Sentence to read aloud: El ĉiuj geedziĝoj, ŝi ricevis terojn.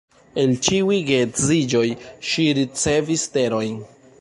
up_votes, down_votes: 1, 2